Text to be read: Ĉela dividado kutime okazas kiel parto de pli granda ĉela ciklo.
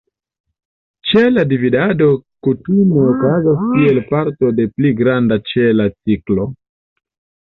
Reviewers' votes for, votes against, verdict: 1, 2, rejected